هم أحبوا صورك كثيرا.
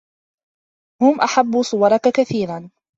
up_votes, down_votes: 2, 0